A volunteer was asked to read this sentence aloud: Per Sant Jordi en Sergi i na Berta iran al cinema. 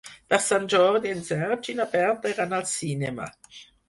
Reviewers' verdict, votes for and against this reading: accepted, 4, 2